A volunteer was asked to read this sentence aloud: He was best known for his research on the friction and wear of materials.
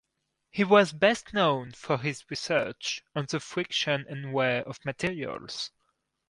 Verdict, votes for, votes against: accepted, 4, 0